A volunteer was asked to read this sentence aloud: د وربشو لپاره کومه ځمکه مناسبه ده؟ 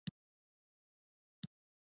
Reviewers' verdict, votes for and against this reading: rejected, 0, 2